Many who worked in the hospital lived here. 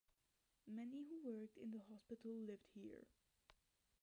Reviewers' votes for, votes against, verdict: 2, 0, accepted